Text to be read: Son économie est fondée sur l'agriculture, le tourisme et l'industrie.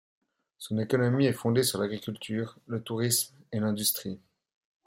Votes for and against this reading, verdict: 2, 0, accepted